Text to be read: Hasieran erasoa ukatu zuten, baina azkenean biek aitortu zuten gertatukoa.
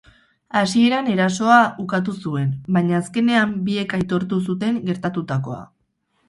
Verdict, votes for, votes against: rejected, 0, 2